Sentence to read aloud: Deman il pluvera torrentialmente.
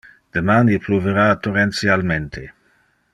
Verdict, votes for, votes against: accepted, 2, 0